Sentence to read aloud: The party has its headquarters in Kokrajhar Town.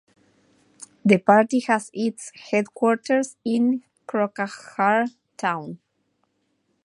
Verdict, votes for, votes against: accepted, 2, 1